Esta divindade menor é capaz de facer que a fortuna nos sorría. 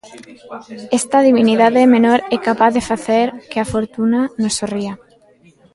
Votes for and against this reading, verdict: 0, 2, rejected